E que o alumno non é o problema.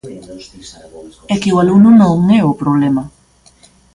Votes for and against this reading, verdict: 1, 2, rejected